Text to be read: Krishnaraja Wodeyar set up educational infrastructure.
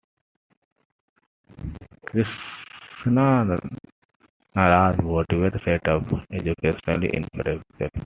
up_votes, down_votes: 0, 2